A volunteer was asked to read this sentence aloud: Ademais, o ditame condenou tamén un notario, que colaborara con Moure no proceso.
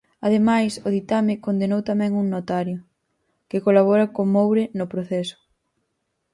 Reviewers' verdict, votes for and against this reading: rejected, 2, 4